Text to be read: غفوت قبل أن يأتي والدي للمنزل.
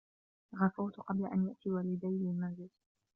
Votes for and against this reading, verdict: 2, 1, accepted